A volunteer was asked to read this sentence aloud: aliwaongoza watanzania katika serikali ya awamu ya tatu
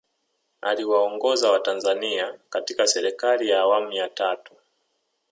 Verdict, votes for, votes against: rejected, 1, 2